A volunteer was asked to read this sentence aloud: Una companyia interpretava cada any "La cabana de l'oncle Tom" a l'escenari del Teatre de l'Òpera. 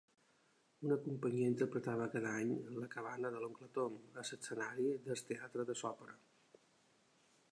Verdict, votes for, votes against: rejected, 0, 3